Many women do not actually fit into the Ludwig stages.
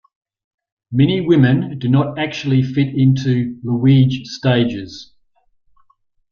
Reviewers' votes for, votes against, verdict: 0, 2, rejected